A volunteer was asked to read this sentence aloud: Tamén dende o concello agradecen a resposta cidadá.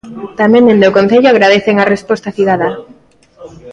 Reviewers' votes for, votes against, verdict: 2, 0, accepted